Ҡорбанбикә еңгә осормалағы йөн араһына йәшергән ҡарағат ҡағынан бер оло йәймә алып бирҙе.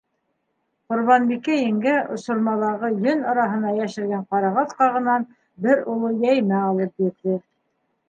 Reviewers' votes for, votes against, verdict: 2, 0, accepted